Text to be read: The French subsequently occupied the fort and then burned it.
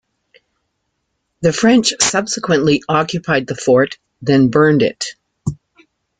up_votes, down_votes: 0, 2